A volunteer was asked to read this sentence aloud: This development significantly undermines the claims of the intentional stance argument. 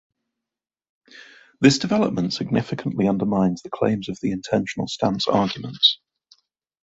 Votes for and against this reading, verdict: 2, 0, accepted